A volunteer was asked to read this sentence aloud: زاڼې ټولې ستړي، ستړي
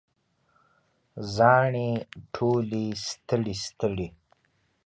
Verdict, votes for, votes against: accepted, 3, 0